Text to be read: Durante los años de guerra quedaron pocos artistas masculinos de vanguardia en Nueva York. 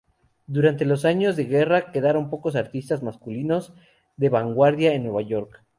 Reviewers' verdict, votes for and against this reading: accepted, 2, 0